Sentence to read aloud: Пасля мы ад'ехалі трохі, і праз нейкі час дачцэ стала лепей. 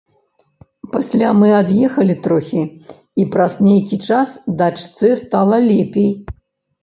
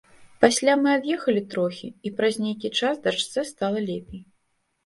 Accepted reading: second